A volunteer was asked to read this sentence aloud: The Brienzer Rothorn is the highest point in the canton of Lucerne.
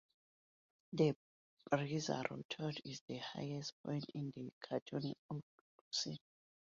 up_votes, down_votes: 0, 2